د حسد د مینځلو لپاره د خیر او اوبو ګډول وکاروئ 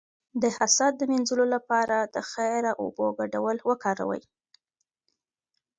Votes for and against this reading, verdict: 1, 2, rejected